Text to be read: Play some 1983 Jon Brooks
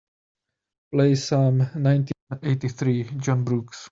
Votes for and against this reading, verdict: 0, 2, rejected